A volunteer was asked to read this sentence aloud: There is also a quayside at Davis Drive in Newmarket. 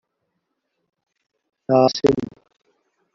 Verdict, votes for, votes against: rejected, 0, 2